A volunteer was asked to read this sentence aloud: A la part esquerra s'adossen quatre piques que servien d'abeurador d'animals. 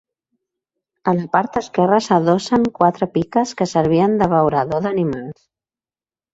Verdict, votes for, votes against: accepted, 3, 1